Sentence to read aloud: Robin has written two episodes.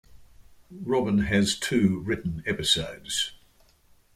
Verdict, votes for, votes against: rejected, 0, 2